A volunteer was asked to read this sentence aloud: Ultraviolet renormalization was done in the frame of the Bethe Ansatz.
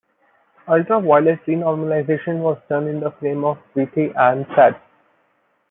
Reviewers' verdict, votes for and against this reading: accepted, 2, 0